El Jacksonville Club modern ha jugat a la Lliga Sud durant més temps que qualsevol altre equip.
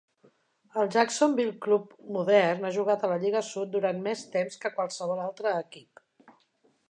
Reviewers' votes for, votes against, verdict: 3, 0, accepted